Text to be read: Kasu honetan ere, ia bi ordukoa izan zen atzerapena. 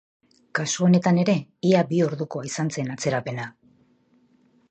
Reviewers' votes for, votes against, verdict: 5, 0, accepted